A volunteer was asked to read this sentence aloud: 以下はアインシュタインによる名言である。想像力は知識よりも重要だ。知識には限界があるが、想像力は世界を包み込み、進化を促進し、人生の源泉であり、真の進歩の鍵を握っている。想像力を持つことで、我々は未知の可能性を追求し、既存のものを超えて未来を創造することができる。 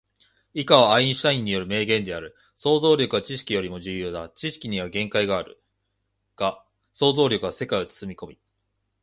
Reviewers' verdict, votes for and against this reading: rejected, 1, 2